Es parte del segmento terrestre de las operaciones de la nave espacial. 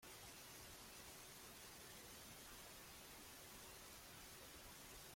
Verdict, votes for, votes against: rejected, 0, 2